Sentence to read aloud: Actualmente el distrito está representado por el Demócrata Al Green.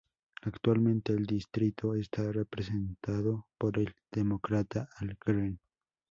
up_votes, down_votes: 2, 0